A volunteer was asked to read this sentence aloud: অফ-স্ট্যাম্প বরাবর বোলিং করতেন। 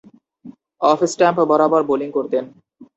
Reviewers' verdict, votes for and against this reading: rejected, 0, 2